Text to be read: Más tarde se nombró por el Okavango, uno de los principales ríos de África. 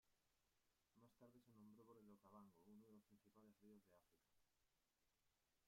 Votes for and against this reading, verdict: 0, 2, rejected